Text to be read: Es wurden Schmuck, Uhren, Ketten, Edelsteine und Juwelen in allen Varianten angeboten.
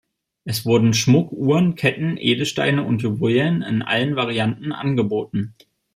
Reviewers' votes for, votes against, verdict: 2, 1, accepted